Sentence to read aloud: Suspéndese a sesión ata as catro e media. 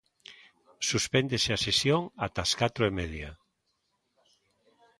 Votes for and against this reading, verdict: 2, 0, accepted